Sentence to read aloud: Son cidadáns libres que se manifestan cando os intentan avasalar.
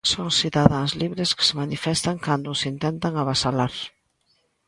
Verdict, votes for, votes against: accepted, 2, 0